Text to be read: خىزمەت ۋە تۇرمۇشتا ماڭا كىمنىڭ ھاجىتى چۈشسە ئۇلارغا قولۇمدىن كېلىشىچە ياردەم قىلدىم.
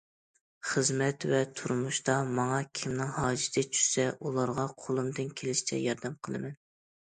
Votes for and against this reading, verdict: 0, 2, rejected